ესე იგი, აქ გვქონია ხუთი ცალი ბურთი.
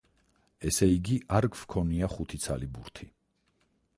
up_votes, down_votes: 0, 4